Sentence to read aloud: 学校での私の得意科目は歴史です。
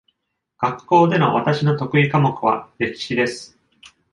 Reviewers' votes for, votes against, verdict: 2, 0, accepted